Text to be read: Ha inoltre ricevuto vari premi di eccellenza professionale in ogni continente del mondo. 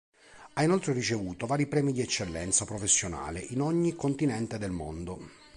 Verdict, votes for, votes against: accepted, 2, 0